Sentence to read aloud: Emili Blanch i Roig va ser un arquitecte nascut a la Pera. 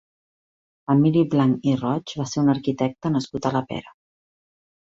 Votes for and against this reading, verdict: 3, 0, accepted